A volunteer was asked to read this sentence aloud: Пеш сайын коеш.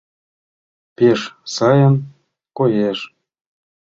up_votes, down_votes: 2, 0